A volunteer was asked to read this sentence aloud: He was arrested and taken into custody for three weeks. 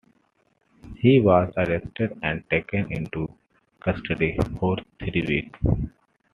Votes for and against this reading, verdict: 2, 0, accepted